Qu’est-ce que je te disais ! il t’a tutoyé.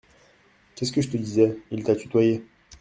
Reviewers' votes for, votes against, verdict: 2, 0, accepted